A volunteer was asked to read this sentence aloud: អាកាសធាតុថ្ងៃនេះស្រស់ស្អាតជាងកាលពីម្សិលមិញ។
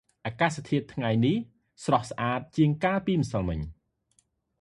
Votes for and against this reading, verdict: 2, 0, accepted